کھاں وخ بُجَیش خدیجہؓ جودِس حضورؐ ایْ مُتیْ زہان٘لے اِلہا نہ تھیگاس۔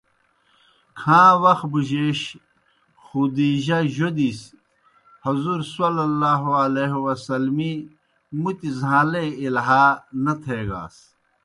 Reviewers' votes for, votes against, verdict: 2, 0, accepted